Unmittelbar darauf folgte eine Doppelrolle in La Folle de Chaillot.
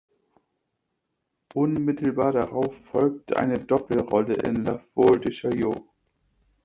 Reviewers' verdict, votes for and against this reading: rejected, 1, 2